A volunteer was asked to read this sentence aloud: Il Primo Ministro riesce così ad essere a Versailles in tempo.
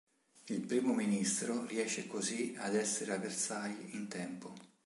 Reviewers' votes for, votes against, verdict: 3, 0, accepted